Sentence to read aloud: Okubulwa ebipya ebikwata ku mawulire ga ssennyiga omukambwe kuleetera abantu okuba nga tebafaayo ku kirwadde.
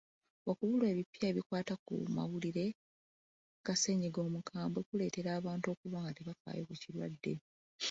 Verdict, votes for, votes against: rejected, 1, 2